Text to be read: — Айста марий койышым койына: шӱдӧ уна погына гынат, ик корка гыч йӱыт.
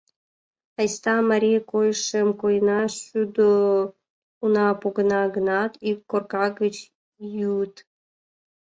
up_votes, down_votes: 1, 2